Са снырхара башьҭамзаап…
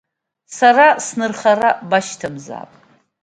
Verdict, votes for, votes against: accepted, 2, 0